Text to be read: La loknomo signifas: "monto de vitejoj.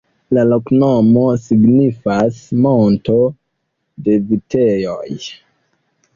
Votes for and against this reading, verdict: 1, 2, rejected